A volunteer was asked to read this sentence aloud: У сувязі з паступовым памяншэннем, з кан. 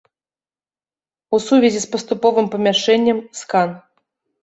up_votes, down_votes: 1, 2